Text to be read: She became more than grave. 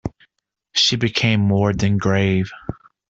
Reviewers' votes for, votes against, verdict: 2, 0, accepted